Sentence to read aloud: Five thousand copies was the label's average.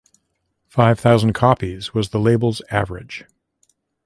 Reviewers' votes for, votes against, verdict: 2, 0, accepted